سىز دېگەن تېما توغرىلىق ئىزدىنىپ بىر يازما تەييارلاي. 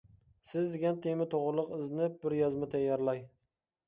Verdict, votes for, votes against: accepted, 2, 0